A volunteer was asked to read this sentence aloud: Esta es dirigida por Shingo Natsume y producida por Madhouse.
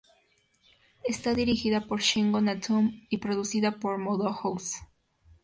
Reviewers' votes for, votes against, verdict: 0, 2, rejected